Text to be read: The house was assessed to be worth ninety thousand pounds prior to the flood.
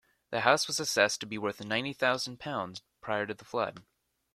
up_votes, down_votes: 2, 0